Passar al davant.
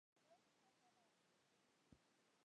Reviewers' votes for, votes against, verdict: 0, 2, rejected